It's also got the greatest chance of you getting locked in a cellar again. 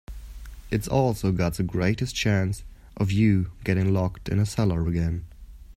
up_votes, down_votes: 2, 0